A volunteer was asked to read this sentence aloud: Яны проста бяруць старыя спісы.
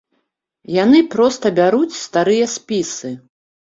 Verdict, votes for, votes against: accepted, 2, 0